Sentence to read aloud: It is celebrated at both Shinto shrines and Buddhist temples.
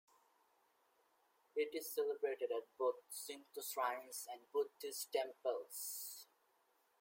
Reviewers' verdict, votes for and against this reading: rejected, 0, 2